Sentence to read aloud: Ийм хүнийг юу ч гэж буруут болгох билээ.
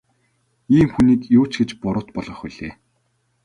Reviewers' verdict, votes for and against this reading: accepted, 2, 0